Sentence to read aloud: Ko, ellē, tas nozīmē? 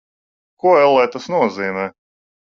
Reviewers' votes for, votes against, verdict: 2, 0, accepted